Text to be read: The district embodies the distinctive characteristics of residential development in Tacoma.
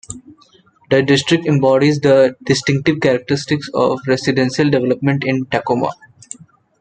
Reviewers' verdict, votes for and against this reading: rejected, 1, 2